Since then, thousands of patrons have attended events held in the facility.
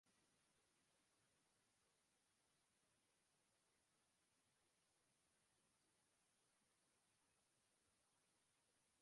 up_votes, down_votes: 0, 2